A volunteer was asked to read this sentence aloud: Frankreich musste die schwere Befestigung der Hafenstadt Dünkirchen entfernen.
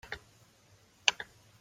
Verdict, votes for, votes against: rejected, 0, 2